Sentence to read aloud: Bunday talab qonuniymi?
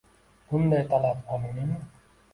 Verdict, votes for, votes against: accepted, 2, 1